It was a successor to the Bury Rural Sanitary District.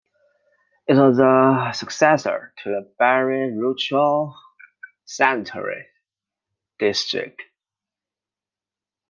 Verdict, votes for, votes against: rejected, 0, 2